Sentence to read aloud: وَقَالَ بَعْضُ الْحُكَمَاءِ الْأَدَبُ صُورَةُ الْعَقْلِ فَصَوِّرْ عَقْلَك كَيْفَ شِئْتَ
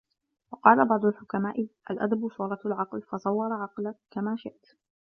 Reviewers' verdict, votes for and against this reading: rejected, 1, 2